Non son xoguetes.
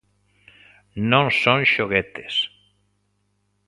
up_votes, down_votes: 2, 0